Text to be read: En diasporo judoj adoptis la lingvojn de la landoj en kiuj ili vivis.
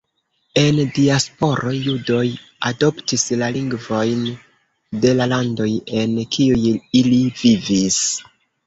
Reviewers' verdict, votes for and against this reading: accepted, 3, 0